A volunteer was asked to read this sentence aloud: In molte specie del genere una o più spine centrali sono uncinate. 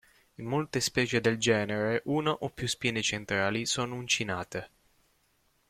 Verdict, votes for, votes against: rejected, 1, 2